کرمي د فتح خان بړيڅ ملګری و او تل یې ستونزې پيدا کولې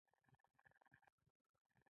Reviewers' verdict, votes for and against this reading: rejected, 1, 2